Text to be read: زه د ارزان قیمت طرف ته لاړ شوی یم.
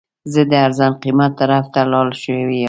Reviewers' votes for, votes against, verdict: 1, 2, rejected